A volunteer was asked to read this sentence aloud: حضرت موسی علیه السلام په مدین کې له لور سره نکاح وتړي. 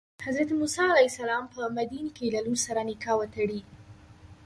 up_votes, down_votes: 2, 1